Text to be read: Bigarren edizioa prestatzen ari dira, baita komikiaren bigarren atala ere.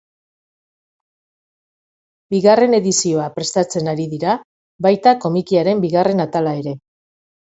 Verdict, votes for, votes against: accepted, 4, 0